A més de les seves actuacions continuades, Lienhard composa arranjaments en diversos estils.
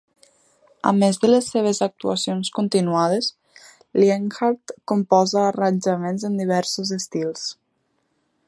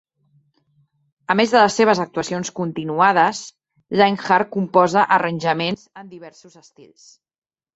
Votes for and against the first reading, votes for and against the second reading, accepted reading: 2, 0, 0, 2, first